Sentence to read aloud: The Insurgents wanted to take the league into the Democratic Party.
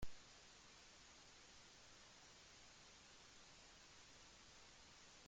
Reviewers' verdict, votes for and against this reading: rejected, 0, 2